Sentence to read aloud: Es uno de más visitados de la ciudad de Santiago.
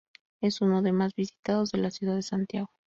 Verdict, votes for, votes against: rejected, 0, 2